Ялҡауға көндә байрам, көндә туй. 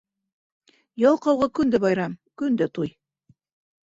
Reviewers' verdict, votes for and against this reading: accepted, 2, 0